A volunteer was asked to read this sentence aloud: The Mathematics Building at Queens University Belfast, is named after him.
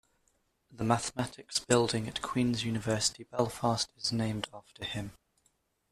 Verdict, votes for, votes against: accepted, 2, 0